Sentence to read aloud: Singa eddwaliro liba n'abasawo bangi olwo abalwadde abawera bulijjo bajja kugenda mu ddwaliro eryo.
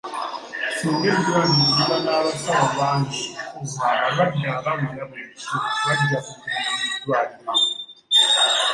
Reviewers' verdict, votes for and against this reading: accepted, 2, 0